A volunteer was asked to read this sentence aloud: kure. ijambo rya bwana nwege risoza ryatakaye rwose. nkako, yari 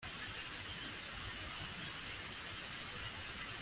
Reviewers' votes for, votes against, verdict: 0, 2, rejected